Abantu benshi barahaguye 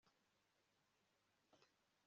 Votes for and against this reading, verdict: 2, 3, rejected